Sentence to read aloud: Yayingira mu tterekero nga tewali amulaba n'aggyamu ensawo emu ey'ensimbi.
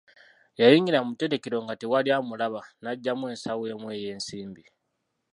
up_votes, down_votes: 1, 2